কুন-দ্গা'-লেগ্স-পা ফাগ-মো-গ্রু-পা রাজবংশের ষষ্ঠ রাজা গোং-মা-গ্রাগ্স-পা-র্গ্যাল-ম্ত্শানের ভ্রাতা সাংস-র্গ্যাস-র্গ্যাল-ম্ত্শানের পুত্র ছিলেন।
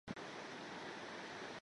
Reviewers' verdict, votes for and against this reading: rejected, 0, 2